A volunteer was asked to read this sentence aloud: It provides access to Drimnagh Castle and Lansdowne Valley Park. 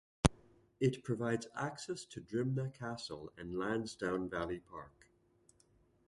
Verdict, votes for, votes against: accepted, 2, 0